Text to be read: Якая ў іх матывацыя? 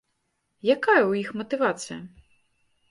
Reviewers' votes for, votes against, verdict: 3, 0, accepted